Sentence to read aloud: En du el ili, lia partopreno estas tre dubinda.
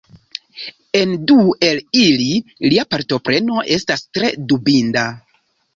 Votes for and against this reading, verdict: 2, 0, accepted